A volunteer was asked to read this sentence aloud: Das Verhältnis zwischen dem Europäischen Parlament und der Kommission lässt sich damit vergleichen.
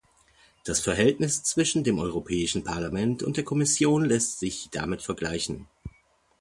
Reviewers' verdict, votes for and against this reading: accepted, 2, 0